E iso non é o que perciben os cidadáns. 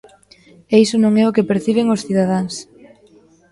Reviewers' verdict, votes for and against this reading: accepted, 2, 0